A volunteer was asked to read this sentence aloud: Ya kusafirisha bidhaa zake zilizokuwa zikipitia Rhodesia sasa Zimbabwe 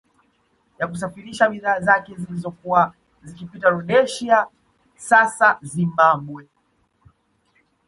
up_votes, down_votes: 2, 1